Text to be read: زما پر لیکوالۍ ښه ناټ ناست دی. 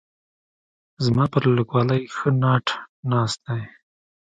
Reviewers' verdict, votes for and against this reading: accepted, 2, 0